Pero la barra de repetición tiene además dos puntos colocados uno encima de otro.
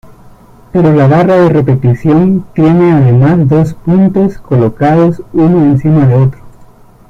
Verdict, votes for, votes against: rejected, 0, 2